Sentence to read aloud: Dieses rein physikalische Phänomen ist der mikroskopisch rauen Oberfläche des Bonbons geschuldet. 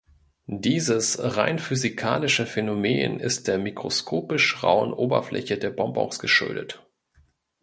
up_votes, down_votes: 1, 2